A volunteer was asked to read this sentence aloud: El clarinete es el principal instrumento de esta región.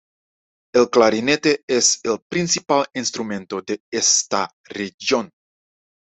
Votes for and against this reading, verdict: 0, 2, rejected